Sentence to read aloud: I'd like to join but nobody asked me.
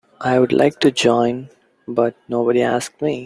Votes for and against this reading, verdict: 3, 0, accepted